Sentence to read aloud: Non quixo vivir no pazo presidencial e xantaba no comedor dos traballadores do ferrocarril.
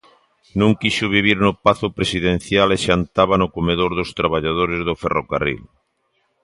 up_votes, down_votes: 2, 0